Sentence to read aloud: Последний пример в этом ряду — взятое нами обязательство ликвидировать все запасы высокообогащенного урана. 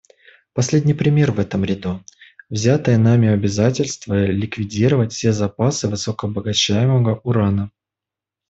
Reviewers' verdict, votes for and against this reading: rejected, 0, 2